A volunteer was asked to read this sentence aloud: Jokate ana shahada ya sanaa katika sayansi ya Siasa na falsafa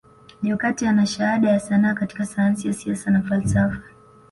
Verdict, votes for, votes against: accepted, 2, 0